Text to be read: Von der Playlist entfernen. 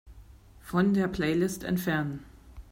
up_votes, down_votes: 2, 0